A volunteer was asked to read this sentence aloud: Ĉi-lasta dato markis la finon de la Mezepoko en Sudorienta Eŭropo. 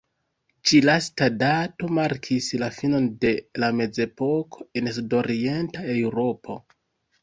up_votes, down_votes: 2, 0